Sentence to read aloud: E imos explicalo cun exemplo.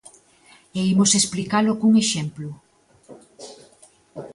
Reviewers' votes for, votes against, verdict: 2, 0, accepted